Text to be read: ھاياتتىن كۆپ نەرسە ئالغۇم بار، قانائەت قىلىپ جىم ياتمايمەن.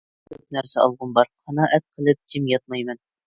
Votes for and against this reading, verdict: 1, 2, rejected